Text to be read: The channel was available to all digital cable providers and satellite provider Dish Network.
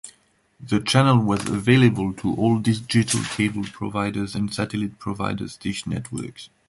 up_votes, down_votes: 0, 2